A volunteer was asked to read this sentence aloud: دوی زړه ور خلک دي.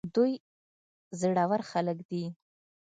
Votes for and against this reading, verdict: 2, 0, accepted